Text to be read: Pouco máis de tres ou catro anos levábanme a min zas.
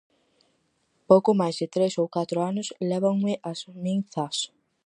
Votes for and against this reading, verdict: 0, 4, rejected